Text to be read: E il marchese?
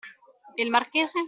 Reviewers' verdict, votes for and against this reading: rejected, 0, 2